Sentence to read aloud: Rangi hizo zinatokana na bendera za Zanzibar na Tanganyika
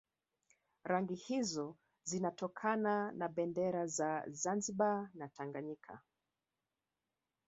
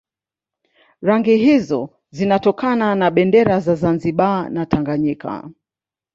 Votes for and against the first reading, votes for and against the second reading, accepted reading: 1, 2, 2, 0, second